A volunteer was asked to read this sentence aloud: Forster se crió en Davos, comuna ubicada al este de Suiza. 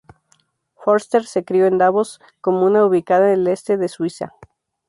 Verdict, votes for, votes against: rejected, 0, 2